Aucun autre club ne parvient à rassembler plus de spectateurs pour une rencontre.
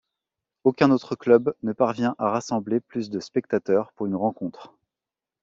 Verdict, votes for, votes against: accepted, 2, 0